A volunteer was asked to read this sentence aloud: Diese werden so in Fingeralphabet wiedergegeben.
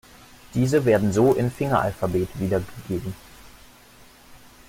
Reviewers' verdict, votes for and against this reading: accepted, 2, 1